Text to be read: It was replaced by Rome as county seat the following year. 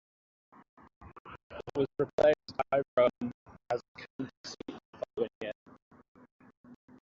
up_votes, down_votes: 0, 2